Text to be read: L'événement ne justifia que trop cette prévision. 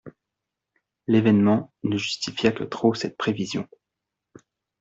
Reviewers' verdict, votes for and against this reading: accepted, 2, 0